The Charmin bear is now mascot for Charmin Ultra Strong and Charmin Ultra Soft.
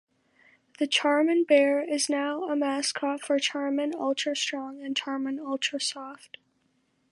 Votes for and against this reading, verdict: 0, 2, rejected